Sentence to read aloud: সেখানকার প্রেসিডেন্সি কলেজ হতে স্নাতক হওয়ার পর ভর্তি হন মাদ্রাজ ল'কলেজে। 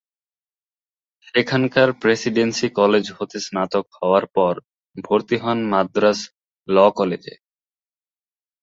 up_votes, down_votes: 2, 0